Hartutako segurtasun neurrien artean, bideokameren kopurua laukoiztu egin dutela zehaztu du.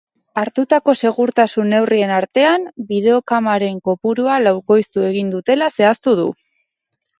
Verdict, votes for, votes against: accepted, 2, 0